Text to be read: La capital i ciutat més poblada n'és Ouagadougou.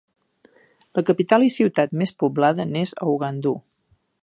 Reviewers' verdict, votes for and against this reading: rejected, 1, 2